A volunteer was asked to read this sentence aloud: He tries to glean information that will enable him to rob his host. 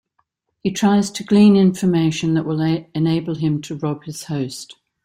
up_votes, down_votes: 0, 2